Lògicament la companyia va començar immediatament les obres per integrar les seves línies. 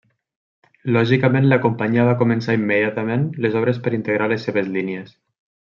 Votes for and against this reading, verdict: 2, 0, accepted